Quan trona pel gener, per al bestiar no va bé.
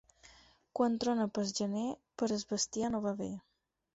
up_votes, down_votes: 0, 4